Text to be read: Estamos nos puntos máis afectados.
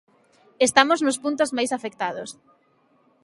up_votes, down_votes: 2, 0